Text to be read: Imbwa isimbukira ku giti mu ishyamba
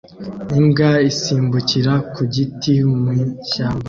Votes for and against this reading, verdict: 0, 2, rejected